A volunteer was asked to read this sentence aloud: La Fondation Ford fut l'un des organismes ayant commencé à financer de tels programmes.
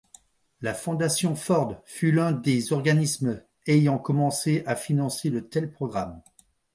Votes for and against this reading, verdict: 2, 0, accepted